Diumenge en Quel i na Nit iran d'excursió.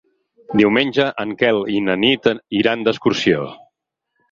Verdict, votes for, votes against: accepted, 8, 2